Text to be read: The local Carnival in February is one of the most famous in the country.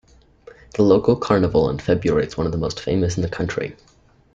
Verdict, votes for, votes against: accepted, 2, 1